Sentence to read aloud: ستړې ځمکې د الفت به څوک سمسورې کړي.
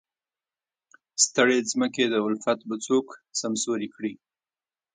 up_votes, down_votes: 2, 0